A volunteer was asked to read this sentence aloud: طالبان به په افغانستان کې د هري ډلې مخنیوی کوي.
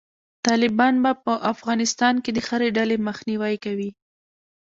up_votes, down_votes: 0, 2